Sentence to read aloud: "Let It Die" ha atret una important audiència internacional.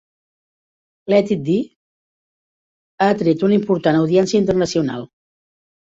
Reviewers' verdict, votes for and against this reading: rejected, 0, 2